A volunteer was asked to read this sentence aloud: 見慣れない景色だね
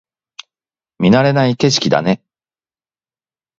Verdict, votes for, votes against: accepted, 2, 0